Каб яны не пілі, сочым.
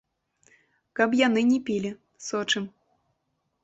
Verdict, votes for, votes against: accepted, 2, 0